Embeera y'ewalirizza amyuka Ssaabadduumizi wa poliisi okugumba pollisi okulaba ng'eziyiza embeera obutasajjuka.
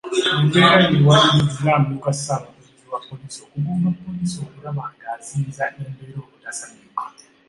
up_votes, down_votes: 2, 4